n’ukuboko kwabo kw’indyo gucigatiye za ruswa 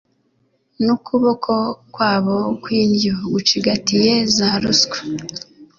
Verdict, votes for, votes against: accepted, 2, 0